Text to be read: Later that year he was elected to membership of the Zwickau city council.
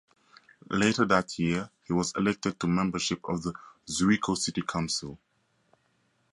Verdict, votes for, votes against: accepted, 4, 0